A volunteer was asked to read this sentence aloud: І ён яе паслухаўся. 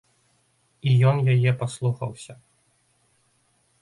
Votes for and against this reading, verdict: 2, 0, accepted